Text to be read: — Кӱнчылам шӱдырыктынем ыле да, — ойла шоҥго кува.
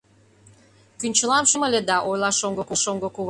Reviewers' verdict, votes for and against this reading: rejected, 0, 2